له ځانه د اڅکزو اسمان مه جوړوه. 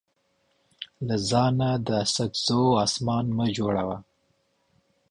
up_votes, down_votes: 2, 0